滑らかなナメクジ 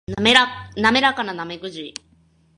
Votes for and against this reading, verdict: 2, 2, rejected